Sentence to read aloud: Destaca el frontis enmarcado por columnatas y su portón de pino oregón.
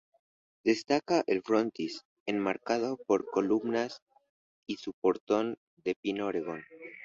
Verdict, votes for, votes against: rejected, 0, 2